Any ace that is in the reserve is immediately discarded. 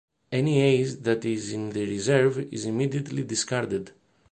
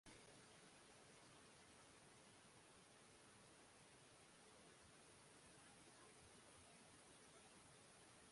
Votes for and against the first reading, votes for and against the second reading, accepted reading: 2, 0, 0, 2, first